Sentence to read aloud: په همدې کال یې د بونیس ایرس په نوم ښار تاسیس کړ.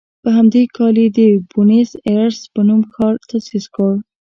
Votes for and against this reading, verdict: 2, 0, accepted